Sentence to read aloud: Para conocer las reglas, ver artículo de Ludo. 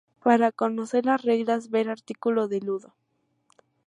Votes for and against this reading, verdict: 2, 0, accepted